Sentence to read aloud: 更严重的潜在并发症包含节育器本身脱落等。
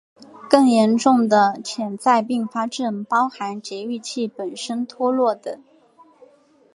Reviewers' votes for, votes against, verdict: 2, 1, accepted